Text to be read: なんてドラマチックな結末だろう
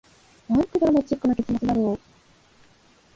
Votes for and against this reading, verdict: 1, 2, rejected